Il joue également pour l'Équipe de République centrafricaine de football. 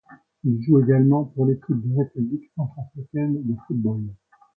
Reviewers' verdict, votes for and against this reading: accepted, 2, 1